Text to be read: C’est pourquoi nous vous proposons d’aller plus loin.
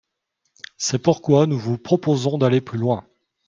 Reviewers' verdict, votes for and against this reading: accepted, 5, 0